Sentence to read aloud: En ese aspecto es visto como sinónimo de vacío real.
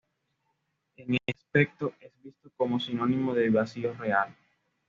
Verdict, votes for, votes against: rejected, 1, 2